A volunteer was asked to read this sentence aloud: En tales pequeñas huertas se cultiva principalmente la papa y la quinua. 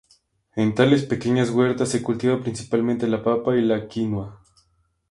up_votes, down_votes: 4, 0